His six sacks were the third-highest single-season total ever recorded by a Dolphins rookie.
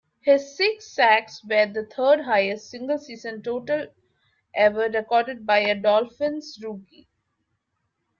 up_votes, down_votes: 3, 1